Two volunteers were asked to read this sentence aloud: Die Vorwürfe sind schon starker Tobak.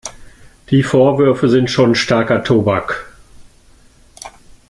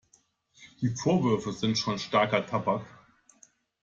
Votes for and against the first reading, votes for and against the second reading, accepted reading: 2, 0, 0, 2, first